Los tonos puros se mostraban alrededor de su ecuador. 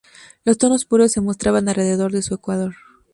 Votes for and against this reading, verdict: 4, 0, accepted